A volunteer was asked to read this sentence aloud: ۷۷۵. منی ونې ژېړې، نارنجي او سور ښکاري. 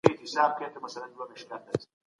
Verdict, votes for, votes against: rejected, 0, 2